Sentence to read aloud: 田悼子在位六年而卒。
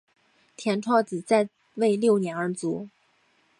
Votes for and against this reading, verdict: 2, 1, accepted